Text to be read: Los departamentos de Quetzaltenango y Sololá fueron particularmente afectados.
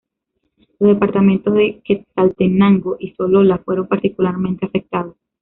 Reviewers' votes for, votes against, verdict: 1, 2, rejected